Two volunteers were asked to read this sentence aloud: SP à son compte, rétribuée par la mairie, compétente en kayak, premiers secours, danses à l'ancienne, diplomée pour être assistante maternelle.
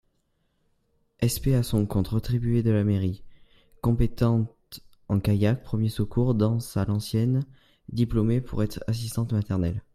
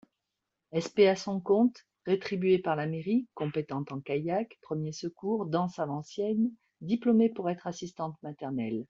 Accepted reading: second